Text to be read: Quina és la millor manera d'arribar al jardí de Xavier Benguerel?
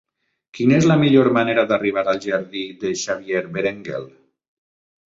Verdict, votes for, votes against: rejected, 0, 2